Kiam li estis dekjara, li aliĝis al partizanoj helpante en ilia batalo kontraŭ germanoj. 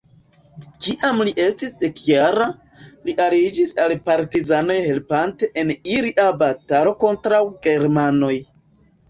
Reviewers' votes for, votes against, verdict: 1, 3, rejected